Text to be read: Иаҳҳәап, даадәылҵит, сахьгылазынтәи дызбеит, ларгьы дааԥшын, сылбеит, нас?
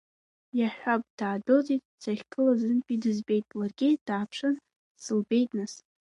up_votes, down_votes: 0, 2